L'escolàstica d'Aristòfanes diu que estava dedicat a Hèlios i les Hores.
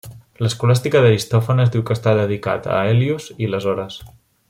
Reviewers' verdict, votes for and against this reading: rejected, 0, 2